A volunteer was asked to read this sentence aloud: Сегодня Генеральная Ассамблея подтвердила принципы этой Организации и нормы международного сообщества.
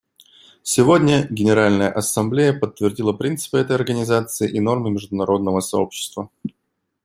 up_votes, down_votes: 2, 0